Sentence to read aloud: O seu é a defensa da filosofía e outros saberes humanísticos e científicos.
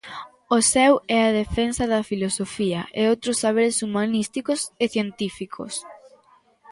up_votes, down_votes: 2, 1